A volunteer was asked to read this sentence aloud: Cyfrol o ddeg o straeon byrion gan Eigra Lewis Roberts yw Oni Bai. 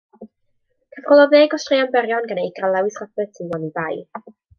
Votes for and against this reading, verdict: 1, 2, rejected